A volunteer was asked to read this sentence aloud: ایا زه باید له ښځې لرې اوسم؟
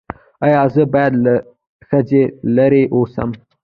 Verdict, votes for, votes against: rejected, 1, 2